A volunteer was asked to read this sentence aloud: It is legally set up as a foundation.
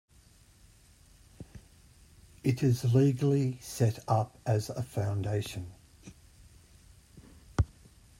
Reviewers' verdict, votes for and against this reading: accepted, 2, 0